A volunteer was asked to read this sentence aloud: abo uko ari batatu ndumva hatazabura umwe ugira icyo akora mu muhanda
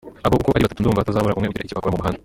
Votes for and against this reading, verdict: 0, 2, rejected